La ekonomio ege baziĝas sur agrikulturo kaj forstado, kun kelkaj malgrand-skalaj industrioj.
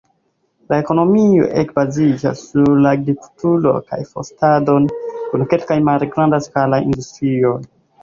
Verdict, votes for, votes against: rejected, 1, 2